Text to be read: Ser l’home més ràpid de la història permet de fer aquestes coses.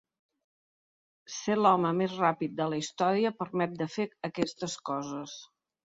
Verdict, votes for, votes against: accepted, 3, 0